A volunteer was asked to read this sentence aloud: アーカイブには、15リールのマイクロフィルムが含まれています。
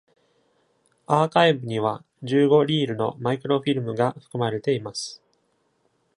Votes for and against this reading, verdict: 0, 2, rejected